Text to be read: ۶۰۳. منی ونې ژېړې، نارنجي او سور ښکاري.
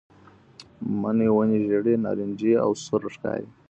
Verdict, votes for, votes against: rejected, 0, 2